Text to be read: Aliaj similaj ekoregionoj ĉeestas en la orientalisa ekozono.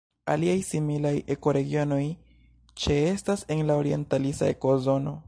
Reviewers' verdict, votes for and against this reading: rejected, 1, 3